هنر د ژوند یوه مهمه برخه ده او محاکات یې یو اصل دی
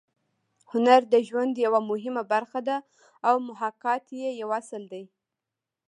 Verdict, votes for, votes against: rejected, 0, 2